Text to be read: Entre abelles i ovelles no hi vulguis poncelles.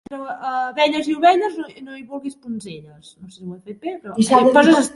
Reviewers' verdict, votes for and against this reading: rejected, 1, 2